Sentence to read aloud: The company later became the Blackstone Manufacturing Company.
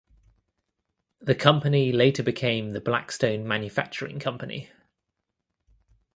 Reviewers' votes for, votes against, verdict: 2, 0, accepted